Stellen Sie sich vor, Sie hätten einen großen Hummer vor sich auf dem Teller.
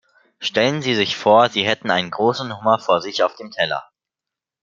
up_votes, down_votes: 2, 0